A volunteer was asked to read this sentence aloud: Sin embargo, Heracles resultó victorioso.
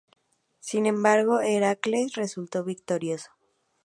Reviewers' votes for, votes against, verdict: 2, 0, accepted